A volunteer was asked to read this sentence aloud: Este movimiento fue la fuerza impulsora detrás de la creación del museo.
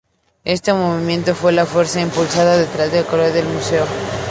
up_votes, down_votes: 0, 2